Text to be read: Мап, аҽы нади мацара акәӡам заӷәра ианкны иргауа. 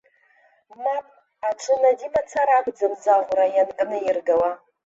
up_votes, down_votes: 0, 2